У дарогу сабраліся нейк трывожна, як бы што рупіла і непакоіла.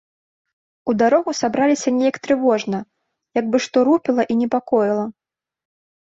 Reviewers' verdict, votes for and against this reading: accepted, 3, 0